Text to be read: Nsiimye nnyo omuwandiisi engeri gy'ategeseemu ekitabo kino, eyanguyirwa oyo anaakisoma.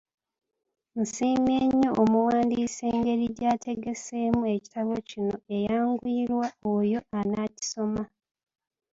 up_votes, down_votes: 1, 2